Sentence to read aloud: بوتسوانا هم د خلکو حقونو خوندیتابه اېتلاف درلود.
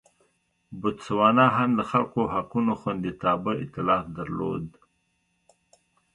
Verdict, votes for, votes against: accepted, 2, 0